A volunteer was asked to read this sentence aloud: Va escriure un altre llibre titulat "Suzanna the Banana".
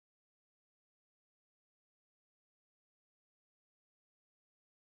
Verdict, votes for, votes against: rejected, 1, 2